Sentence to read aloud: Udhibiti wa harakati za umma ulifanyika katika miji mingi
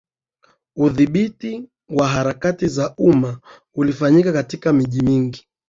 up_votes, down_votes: 3, 0